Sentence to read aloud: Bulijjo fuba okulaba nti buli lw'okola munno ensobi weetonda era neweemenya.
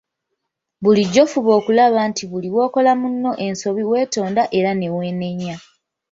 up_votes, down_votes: 1, 2